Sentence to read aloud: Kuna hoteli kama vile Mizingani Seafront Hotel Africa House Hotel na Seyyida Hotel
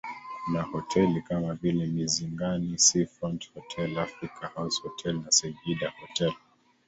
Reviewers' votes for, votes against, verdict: 2, 0, accepted